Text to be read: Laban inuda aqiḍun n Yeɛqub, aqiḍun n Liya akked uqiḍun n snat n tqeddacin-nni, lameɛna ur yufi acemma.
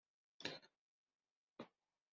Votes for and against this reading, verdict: 0, 2, rejected